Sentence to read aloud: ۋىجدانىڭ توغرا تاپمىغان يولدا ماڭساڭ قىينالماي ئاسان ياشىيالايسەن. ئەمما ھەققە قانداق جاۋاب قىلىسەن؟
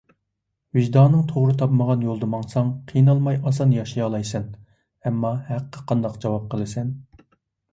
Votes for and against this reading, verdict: 2, 0, accepted